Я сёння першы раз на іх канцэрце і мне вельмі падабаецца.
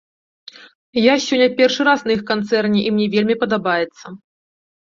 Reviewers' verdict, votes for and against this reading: rejected, 0, 2